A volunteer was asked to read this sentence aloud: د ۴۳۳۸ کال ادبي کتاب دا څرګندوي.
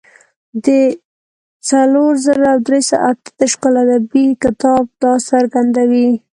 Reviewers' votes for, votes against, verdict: 0, 2, rejected